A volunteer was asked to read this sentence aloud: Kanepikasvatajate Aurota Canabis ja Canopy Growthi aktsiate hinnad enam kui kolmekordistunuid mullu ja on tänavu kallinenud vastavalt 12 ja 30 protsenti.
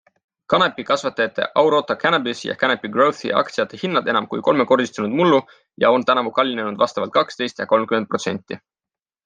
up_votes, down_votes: 0, 2